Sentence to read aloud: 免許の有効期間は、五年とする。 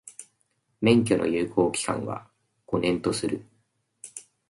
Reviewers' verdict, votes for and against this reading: accepted, 2, 1